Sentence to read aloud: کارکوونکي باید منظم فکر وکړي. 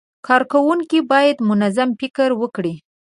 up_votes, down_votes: 2, 0